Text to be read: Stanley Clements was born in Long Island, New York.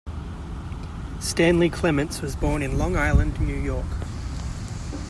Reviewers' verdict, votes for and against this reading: accepted, 2, 0